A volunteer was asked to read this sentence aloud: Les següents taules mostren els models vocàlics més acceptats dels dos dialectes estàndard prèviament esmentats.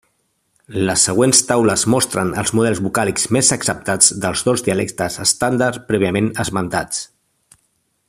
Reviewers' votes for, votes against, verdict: 2, 0, accepted